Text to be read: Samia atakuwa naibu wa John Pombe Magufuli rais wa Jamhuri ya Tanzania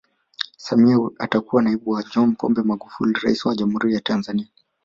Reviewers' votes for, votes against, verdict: 1, 2, rejected